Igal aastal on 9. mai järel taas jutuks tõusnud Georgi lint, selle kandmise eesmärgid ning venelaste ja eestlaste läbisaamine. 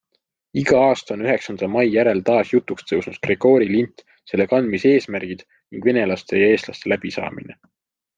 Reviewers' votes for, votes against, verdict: 0, 2, rejected